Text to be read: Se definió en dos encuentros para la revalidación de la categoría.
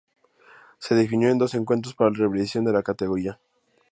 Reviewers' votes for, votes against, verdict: 2, 4, rejected